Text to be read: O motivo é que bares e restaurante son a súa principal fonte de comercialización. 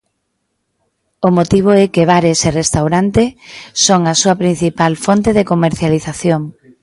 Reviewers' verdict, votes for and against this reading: accepted, 2, 0